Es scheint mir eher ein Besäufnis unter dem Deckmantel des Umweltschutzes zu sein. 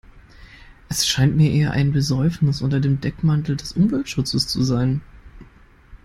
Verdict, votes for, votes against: accepted, 2, 0